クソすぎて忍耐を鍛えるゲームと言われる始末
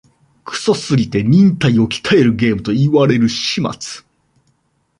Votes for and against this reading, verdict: 2, 0, accepted